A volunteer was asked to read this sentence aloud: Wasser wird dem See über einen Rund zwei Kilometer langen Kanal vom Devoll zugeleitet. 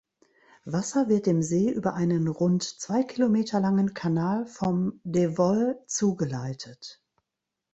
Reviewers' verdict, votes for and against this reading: accepted, 2, 0